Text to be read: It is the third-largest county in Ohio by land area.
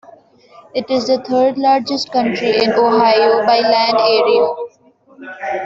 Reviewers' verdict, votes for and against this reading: rejected, 0, 2